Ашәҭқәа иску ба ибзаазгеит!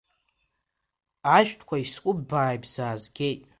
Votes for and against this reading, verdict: 1, 2, rejected